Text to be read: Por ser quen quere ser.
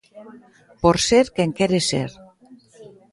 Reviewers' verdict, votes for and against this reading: accepted, 3, 0